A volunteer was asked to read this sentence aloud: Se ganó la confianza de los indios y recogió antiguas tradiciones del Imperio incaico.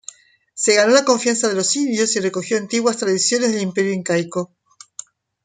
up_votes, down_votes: 1, 2